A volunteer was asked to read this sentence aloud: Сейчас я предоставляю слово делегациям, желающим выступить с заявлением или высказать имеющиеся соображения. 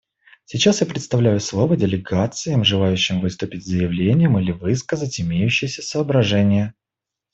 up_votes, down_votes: 1, 2